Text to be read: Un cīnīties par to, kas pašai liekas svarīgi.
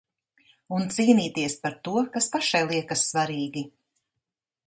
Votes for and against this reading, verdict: 2, 0, accepted